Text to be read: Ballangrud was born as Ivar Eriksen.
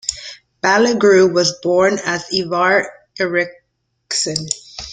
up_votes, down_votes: 1, 2